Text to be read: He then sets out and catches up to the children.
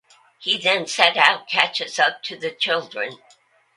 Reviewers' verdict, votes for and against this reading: rejected, 1, 2